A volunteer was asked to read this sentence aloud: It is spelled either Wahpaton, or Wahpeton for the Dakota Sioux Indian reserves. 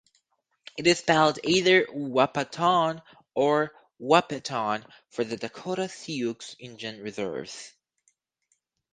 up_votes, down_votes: 4, 0